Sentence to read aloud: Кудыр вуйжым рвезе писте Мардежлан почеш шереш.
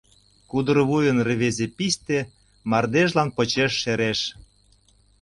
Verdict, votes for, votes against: rejected, 1, 2